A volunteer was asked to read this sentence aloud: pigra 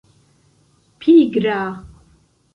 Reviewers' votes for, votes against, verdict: 1, 2, rejected